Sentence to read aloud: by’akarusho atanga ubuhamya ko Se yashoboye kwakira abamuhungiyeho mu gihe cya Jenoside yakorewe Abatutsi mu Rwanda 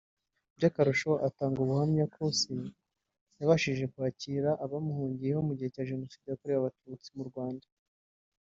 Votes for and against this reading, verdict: 1, 2, rejected